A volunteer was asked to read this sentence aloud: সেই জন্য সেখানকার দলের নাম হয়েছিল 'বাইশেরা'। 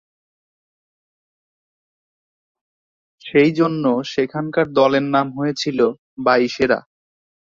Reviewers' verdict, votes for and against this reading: accepted, 2, 0